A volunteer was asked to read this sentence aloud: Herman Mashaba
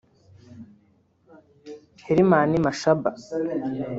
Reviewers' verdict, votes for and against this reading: rejected, 1, 2